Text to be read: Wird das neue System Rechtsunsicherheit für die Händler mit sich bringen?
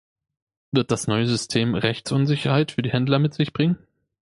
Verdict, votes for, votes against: accepted, 2, 0